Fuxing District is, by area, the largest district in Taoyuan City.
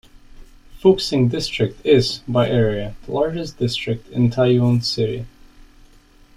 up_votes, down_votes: 2, 0